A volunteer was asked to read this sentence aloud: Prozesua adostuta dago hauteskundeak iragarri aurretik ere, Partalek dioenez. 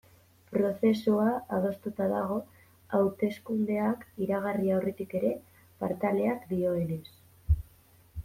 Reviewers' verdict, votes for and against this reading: accepted, 2, 1